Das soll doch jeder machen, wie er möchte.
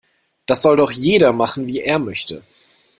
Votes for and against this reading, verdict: 2, 0, accepted